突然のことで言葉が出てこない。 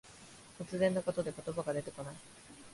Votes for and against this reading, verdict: 5, 1, accepted